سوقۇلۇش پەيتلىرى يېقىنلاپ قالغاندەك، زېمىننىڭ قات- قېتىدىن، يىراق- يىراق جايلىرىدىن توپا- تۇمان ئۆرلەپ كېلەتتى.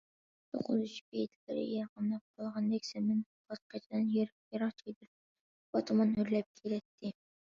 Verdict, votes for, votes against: rejected, 0, 2